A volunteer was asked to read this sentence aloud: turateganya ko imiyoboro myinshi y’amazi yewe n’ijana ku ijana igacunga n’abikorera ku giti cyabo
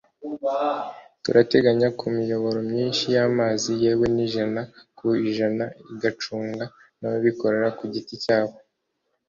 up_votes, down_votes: 2, 0